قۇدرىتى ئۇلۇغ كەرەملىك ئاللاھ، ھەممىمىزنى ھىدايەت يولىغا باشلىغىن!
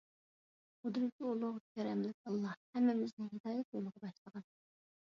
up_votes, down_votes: 0, 2